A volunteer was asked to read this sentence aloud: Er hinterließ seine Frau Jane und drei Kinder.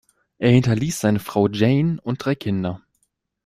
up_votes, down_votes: 2, 0